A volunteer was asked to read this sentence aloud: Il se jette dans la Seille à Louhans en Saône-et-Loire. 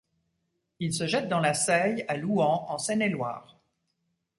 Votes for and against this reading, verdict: 1, 2, rejected